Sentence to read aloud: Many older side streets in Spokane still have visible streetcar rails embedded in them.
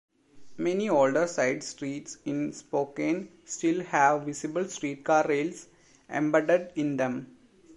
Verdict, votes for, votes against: rejected, 0, 2